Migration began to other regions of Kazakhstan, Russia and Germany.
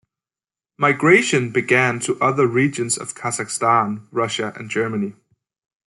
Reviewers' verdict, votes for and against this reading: accepted, 2, 0